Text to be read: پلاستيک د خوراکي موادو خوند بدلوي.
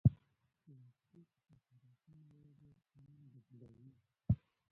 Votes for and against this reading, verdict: 0, 2, rejected